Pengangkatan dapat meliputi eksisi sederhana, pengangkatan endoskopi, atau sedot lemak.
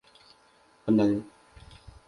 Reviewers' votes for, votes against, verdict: 0, 2, rejected